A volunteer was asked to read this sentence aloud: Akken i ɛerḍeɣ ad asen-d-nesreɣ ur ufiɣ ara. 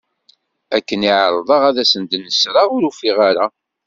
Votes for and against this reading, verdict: 2, 0, accepted